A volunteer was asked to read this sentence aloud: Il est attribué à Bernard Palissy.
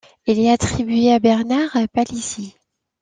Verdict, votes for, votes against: accepted, 2, 0